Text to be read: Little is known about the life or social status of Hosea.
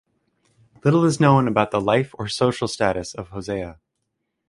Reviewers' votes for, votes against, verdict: 0, 2, rejected